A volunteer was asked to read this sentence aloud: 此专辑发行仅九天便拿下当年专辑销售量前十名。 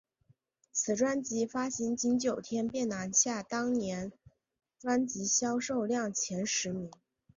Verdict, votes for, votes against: accepted, 3, 1